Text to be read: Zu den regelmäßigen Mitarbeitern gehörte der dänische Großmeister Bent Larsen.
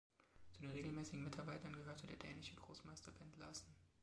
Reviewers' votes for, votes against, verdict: 1, 2, rejected